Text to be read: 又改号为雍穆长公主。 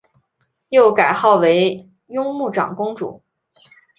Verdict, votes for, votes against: accepted, 2, 0